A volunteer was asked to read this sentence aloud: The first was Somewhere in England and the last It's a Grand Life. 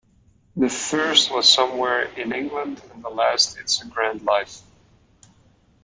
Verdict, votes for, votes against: accepted, 2, 0